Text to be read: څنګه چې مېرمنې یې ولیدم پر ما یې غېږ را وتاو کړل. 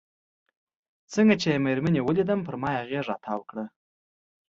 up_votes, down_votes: 2, 1